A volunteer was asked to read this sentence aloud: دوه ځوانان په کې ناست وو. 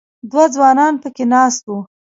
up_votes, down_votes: 2, 0